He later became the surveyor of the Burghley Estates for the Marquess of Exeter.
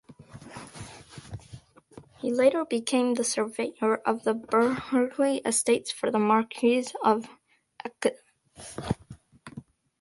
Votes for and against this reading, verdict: 0, 2, rejected